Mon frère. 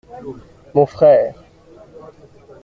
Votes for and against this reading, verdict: 2, 0, accepted